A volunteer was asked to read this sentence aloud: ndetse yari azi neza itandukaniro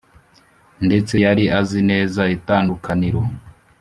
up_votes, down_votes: 2, 0